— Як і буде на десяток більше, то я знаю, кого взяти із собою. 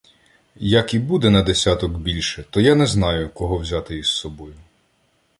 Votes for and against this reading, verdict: 1, 2, rejected